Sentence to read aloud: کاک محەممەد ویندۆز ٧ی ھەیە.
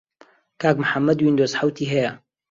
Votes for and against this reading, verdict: 0, 2, rejected